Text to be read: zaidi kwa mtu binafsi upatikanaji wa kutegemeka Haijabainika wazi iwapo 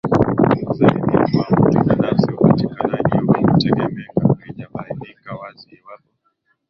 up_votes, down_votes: 0, 4